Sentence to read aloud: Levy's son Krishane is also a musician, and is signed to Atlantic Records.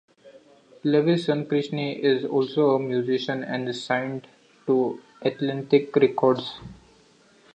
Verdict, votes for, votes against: rejected, 0, 2